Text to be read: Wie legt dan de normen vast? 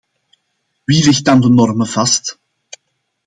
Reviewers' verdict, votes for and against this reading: accepted, 2, 0